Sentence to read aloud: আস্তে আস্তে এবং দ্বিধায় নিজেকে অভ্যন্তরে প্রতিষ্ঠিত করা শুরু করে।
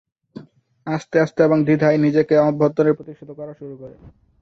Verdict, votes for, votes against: rejected, 0, 2